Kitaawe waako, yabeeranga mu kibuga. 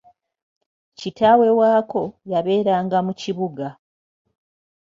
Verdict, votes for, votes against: accepted, 2, 0